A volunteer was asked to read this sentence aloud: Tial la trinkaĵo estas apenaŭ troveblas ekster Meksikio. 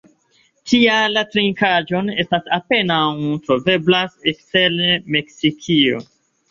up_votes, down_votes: 1, 2